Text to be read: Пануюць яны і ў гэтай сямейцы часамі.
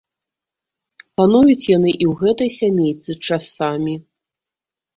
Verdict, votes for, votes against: accepted, 2, 0